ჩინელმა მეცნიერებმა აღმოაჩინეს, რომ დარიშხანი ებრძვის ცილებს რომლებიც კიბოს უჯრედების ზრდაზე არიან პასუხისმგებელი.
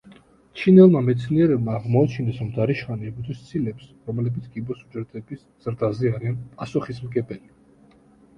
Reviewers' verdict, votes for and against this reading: accepted, 2, 0